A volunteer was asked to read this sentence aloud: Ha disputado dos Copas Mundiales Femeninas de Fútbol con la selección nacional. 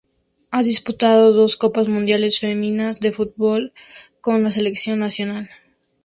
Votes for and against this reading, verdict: 2, 0, accepted